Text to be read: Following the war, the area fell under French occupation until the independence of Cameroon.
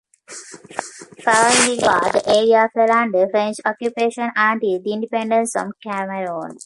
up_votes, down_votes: 0, 2